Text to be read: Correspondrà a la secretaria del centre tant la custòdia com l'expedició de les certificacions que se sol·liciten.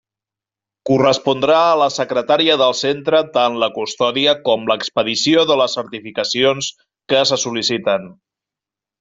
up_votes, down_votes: 1, 2